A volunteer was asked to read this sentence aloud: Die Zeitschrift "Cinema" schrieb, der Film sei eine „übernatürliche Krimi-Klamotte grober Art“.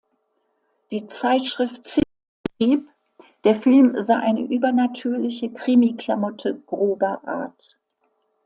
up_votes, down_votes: 0, 2